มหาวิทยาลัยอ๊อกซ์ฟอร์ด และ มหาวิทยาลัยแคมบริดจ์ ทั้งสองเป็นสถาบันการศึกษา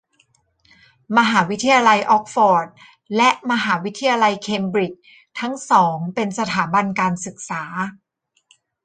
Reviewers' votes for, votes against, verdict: 2, 0, accepted